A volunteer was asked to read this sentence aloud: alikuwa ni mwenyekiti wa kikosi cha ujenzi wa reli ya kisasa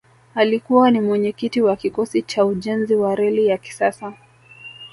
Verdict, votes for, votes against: rejected, 1, 2